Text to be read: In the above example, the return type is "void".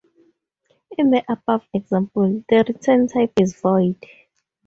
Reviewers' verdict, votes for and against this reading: accepted, 4, 0